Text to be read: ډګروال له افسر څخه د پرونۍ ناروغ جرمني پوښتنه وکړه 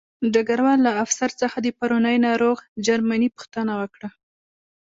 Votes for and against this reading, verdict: 1, 2, rejected